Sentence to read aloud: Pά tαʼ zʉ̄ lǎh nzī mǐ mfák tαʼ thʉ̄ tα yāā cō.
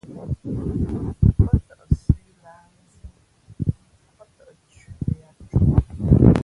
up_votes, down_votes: 1, 2